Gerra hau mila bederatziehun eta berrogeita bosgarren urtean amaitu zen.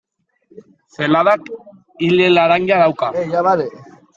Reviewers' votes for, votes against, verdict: 0, 2, rejected